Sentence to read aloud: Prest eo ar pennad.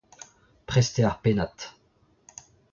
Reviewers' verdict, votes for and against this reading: accepted, 2, 0